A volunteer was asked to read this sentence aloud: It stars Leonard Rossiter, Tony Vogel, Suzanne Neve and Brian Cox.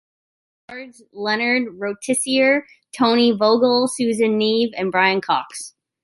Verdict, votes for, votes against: rejected, 1, 2